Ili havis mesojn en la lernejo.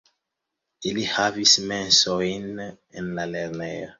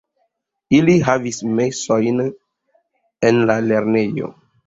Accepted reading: second